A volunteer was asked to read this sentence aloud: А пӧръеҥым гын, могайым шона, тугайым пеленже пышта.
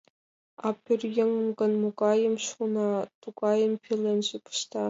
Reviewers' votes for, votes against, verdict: 2, 1, accepted